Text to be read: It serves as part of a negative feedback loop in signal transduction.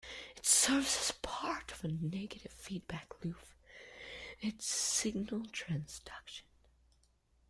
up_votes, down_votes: 0, 2